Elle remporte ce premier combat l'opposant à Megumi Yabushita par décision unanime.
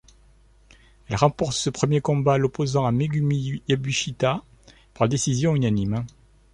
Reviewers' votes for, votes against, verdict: 1, 2, rejected